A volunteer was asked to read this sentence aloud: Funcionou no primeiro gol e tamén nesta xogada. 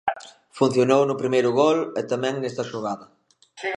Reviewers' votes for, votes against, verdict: 1, 2, rejected